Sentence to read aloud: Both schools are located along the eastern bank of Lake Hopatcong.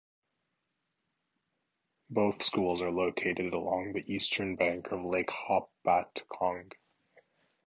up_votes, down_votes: 2, 1